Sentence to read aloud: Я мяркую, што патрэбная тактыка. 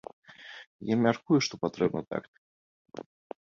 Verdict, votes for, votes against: rejected, 1, 2